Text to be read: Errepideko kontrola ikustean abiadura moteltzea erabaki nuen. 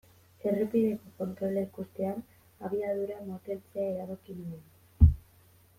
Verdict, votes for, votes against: accepted, 2, 1